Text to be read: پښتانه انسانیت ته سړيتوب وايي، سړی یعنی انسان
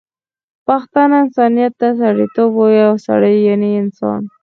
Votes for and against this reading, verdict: 4, 0, accepted